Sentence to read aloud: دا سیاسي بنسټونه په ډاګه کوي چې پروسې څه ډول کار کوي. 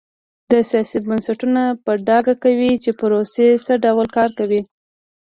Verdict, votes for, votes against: accepted, 2, 0